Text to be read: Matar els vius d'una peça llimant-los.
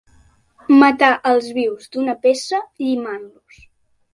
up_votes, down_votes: 3, 0